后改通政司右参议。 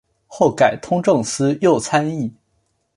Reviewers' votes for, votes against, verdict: 2, 0, accepted